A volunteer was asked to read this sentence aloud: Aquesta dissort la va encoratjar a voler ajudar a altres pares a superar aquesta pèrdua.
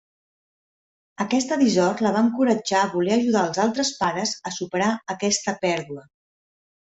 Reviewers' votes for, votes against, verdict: 1, 2, rejected